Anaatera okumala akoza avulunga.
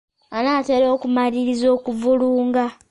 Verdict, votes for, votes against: rejected, 0, 2